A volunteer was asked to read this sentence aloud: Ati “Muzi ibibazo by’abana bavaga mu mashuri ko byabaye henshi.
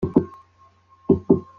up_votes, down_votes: 0, 2